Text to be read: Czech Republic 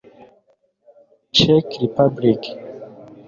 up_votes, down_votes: 0, 2